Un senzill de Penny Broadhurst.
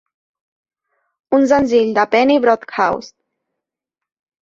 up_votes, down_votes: 0, 2